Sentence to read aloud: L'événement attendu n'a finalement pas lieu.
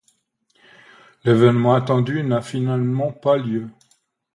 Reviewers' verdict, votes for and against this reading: accepted, 2, 0